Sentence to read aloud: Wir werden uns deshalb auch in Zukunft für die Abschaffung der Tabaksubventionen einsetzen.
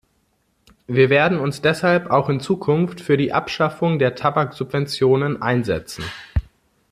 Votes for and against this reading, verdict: 2, 0, accepted